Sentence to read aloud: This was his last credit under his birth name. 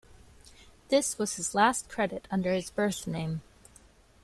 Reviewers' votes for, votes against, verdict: 1, 2, rejected